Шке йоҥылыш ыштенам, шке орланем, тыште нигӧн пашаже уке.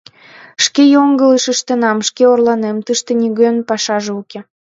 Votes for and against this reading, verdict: 2, 0, accepted